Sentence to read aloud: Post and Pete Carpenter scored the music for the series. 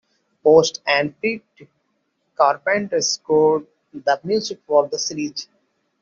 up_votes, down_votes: 2, 0